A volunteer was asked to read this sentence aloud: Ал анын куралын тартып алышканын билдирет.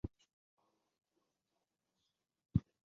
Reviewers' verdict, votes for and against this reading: rejected, 0, 2